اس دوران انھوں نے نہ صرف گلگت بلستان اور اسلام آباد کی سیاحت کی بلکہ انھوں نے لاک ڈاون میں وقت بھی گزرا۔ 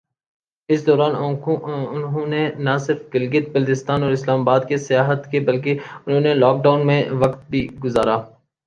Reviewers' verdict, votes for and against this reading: rejected, 3, 3